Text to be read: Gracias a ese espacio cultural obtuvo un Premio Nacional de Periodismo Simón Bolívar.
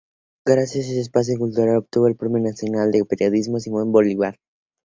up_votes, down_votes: 2, 2